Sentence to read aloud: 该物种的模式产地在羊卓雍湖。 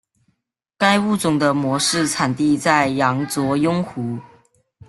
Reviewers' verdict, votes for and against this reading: accepted, 2, 1